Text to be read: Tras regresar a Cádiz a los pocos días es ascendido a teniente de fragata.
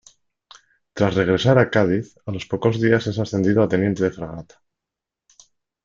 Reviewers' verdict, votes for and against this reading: rejected, 0, 2